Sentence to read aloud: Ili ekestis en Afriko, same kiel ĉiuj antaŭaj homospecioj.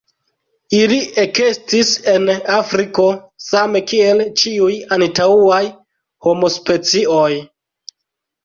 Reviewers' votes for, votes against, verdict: 2, 0, accepted